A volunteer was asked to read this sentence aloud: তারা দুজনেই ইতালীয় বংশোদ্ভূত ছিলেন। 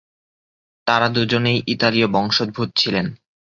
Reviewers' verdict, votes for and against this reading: rejected, 2, 2